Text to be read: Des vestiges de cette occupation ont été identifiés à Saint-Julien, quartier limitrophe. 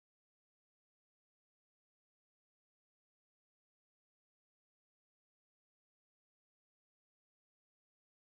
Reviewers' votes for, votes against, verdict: 1, 2, rejected